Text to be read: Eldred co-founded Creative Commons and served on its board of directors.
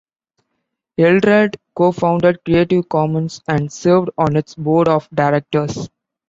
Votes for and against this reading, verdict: 2, 0, accepted